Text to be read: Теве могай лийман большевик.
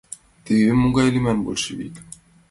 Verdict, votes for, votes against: accepted, 2, 0